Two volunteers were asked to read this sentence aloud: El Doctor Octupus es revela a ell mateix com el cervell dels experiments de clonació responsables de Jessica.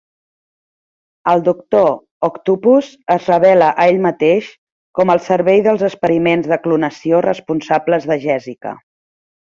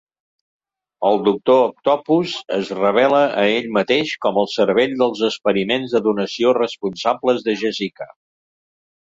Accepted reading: first